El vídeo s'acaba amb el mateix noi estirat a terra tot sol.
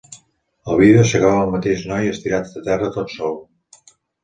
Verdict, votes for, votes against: accepted, 2, 0